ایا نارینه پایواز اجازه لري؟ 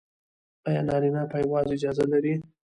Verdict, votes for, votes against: accepted, 2, 0